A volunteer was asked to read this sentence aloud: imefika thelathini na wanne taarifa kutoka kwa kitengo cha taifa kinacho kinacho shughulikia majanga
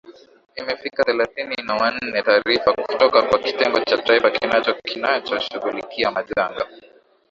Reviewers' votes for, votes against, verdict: 5, 11, rejected